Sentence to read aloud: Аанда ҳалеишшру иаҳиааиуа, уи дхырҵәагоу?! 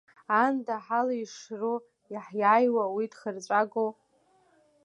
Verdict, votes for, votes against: accepted, 2, 1